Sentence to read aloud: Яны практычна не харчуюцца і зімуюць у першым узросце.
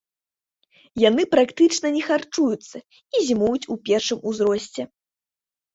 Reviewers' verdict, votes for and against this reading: accepted, 2, 0